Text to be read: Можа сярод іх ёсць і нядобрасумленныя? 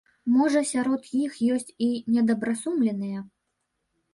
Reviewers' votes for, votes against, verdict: 0, 2, rejected